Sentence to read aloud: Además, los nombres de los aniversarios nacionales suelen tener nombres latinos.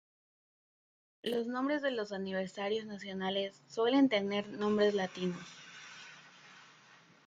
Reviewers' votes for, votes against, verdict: 1, 3, rejected